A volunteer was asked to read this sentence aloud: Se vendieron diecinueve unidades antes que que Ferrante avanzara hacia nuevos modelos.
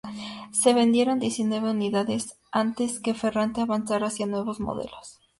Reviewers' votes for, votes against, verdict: 2, 0, accepted